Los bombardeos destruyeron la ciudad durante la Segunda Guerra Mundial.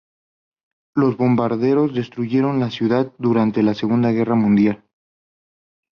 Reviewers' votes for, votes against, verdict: 2, 0, accepted